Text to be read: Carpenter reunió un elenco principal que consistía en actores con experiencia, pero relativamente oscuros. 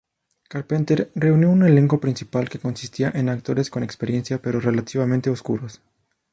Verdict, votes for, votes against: accepted, 2, 0